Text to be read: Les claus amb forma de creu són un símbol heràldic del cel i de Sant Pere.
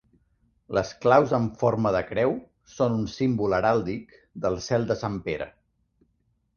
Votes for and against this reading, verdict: 1, 2, rejected